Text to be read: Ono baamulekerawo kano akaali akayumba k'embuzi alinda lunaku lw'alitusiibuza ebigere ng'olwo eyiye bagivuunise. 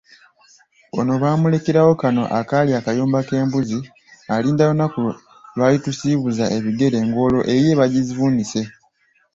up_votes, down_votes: 2, 0